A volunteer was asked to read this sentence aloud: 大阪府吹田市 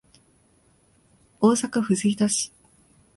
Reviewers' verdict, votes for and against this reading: accepted, 2, 0